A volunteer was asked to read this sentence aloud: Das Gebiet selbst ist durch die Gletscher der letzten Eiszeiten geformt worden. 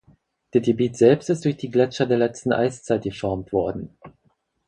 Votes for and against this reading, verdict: 0, 4, rejected